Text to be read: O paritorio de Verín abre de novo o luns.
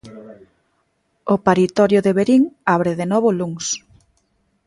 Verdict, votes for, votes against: accepted, 2, 0